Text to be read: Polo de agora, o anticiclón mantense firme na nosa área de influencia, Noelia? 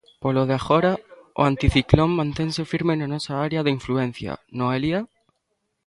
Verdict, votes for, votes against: accepted, 2, 0